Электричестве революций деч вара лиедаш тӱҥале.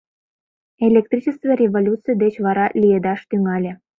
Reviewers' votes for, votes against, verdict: 2, 0, accepted